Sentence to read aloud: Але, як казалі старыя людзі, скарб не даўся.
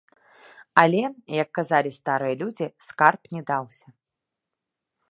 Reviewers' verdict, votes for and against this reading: rejected, 1, 2